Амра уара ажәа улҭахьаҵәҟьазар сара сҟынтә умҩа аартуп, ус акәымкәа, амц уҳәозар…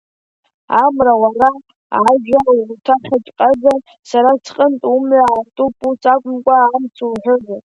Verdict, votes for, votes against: accepted, 2, 1